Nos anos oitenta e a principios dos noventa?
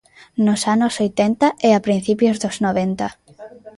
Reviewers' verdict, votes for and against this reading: rejected, 1, 2